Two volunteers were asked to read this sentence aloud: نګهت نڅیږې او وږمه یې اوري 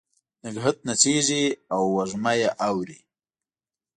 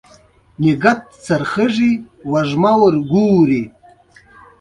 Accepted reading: first